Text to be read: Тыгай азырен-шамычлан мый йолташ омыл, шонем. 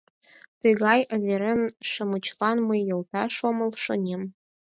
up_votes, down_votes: 2, 4